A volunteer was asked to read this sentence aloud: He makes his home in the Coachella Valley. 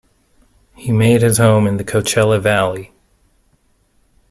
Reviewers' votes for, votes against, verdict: 1, 2, rejected